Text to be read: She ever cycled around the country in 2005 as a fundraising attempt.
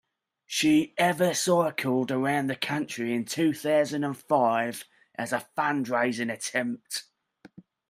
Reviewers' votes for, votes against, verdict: 0, 2, rejected